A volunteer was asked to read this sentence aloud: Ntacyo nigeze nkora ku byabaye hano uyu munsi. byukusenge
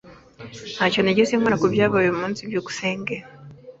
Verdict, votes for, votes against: rejected, 0, 2